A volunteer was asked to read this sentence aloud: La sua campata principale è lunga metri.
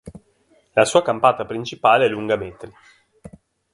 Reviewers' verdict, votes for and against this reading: accepted, 3, 0